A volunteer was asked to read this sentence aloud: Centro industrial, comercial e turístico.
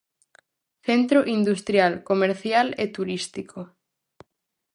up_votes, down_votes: 4, 0